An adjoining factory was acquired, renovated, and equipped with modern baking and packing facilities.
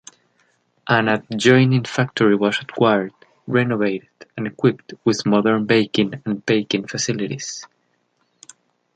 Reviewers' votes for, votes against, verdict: 1, 2, rejected